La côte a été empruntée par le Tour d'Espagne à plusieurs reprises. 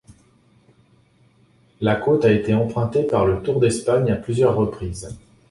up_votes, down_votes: 2, 0